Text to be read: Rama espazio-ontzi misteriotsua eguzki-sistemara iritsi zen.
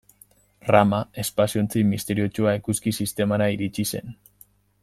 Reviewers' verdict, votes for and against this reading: accepted, 2, 0